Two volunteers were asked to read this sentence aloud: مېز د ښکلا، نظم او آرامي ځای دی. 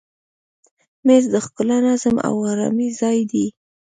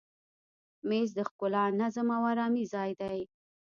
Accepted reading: first